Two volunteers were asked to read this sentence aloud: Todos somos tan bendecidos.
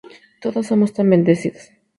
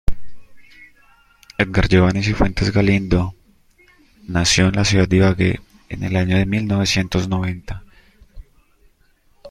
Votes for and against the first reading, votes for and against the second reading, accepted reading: 2, 0, 0, 2, first